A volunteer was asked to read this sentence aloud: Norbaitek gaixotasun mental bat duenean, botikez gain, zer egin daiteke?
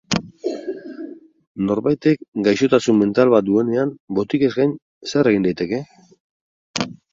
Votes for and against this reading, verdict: 2, 2, rejected